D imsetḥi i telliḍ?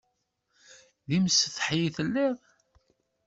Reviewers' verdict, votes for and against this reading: accepted, 2, 0